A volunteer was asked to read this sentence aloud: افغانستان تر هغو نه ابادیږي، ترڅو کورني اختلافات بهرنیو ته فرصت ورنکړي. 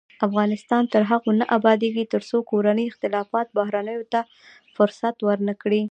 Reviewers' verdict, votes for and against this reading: accepted, 2, 0